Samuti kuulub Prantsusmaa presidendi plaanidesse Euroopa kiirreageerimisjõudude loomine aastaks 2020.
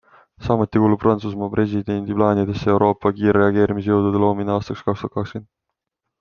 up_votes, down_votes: 0, 2